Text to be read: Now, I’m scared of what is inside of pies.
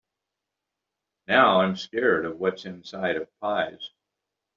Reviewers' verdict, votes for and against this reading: accepted, 3, 1